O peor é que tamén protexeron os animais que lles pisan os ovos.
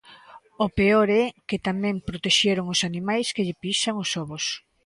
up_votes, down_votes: 0, 2